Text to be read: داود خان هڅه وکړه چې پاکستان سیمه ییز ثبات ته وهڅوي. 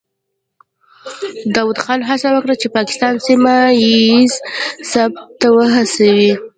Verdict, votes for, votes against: accepted, 2, 1